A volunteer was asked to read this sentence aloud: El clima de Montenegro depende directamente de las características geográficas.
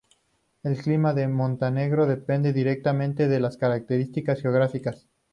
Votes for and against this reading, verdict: 4, 0, accepted